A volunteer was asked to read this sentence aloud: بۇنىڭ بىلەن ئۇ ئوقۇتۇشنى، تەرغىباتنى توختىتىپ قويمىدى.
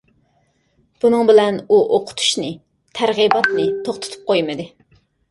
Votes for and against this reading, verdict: 2, 0, accepted